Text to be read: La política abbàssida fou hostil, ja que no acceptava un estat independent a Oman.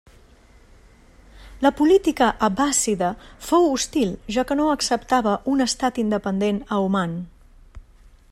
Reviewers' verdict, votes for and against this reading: accepted, 2, 0